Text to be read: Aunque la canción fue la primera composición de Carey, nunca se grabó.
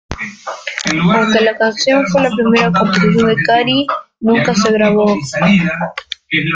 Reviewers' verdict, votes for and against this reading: rejected, 0, 2